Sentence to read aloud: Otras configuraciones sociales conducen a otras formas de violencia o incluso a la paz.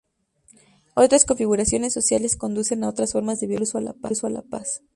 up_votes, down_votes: 0, 2